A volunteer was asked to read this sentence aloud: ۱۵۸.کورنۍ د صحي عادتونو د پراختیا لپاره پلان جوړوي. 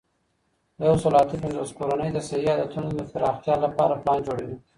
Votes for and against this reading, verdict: 0, 2, rejected